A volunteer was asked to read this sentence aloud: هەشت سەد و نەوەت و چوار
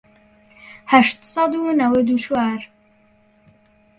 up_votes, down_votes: 1, 2